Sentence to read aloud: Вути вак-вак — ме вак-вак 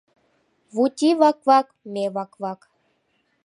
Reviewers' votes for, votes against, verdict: 2, 0, accepted